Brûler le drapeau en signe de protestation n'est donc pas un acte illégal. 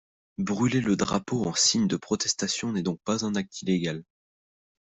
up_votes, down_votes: 2, 0